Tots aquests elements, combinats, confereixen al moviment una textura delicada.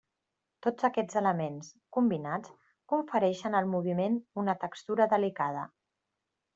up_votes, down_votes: 3, 1